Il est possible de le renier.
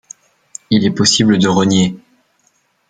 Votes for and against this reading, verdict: 0, 2, rejected